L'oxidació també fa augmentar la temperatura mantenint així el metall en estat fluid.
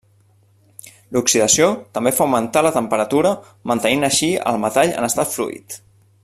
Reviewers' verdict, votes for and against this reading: rejected, 1, 2